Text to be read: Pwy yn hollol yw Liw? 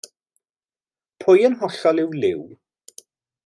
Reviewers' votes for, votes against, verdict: 1, 2, rejected